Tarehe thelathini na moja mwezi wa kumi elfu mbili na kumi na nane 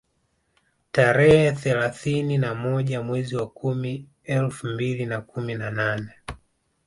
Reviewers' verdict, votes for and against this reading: accepted, 2, 0